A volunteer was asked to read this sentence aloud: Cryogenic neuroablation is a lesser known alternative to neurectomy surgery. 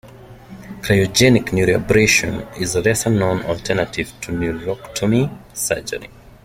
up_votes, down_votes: 0, 2